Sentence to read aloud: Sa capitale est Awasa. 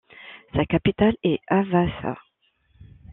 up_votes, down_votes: 0, 2